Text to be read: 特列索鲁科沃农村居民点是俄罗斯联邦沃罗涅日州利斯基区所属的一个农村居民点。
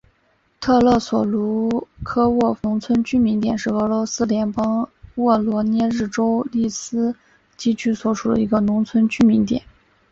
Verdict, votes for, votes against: accepted, 4, 1